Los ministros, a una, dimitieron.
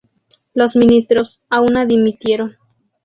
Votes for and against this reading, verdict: 0, 2, rejected